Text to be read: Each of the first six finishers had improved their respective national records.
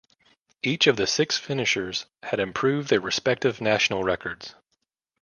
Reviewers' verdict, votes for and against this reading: rejected, 1, 2